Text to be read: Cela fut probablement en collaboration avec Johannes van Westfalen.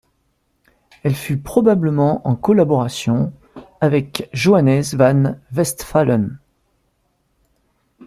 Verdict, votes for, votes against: rejected, 0, 2